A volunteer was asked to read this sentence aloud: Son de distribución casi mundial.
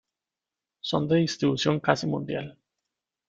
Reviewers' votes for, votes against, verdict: 2, 0, accepted